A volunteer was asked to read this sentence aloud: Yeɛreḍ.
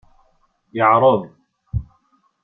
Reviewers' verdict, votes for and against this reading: accepted, 2, 0